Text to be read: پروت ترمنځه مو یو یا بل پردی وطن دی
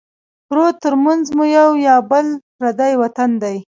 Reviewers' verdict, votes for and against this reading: accepted, 2, 0